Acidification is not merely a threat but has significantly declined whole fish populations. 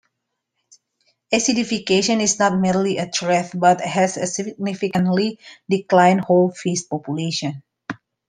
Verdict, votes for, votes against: accepted, 2, 1